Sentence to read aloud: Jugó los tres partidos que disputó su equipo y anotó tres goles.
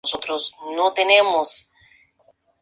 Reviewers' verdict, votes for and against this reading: rejected, 0, 2